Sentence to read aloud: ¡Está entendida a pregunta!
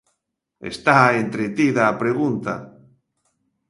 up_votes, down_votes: 0, 2